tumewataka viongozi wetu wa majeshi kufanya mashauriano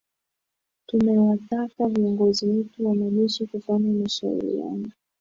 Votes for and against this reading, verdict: 0, 2, rejected